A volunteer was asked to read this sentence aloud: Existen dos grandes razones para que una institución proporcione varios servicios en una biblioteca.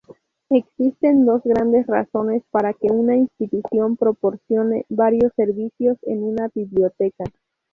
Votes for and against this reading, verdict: 2, 0, accepted